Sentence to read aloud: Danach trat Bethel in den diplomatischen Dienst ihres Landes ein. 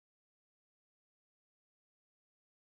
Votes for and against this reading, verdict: 0, 2, rejected